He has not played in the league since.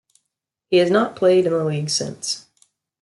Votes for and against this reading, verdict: 2, 0, accepted